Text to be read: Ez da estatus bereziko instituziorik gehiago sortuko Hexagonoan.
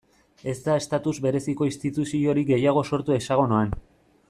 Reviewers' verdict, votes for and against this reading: rejected, 0, 2